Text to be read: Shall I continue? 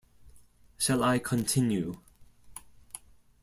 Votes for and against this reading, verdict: 2, 0, accepted